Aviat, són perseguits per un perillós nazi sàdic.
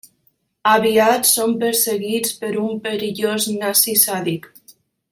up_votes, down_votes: 3, 0